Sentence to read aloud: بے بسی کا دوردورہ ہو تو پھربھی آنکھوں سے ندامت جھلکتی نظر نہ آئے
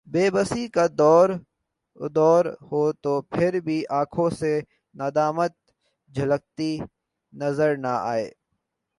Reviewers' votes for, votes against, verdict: 0, 2, rejected